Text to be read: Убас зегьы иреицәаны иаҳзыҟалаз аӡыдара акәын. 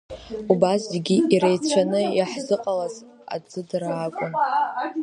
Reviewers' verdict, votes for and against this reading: rejected, 1, 2